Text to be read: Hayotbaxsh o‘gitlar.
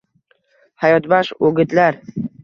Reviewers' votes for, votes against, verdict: 2, 0, accepted